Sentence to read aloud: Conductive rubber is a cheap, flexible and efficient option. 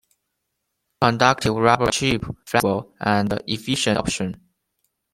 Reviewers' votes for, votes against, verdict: 1, 2, rejected